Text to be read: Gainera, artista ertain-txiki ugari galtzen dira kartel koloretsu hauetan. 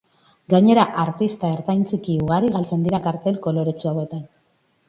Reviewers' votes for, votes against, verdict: 4, 0, accepted